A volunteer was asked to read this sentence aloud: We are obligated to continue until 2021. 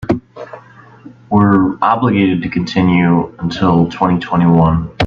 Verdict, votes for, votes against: rejected, 0, 2